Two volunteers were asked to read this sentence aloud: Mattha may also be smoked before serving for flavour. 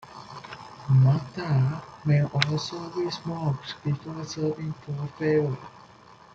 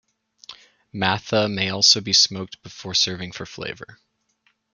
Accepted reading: second